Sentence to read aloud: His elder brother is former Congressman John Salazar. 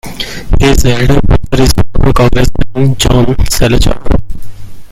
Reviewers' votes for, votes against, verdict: 0, 2, rejected